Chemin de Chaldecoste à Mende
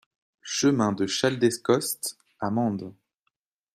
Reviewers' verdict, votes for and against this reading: rejected, 1, 2